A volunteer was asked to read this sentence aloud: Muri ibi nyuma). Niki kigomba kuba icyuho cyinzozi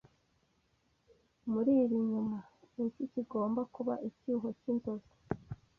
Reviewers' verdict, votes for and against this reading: rejected, 0, 2